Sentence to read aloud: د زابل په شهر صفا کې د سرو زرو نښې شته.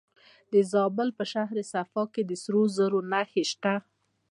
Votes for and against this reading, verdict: 2, 0, accepted